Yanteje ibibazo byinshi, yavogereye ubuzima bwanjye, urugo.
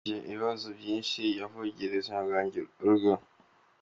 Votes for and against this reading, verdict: 1, 2, rejected